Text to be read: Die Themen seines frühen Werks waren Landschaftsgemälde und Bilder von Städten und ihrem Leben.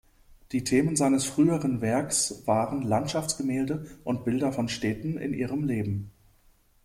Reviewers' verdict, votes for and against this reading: rejected, 0, 2